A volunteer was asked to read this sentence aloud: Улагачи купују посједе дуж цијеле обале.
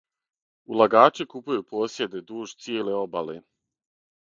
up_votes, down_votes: 6, 0